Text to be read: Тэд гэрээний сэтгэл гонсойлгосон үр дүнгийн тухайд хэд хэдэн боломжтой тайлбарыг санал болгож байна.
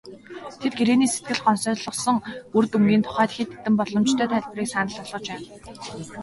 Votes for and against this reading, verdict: 2, 0, accepted